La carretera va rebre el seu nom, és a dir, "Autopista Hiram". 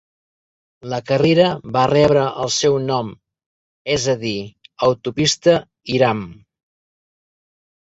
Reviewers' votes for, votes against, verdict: 0, 2, rejected